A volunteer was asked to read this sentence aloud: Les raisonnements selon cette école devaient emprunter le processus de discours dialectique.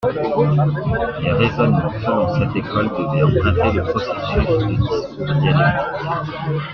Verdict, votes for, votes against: rejected, 0, 2